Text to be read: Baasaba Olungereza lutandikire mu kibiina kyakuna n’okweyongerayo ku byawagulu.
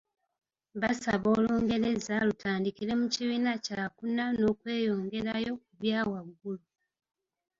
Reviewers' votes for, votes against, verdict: 2, 0, accepted